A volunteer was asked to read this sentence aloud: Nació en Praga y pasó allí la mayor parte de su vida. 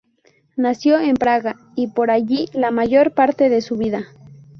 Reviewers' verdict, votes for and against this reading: rejected, 0, 2